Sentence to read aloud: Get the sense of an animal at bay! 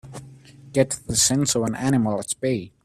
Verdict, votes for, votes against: rejected, 1, 2